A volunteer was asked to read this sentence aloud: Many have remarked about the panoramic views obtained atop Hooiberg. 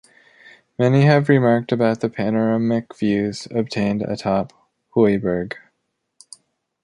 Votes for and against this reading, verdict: 2, 0, accepted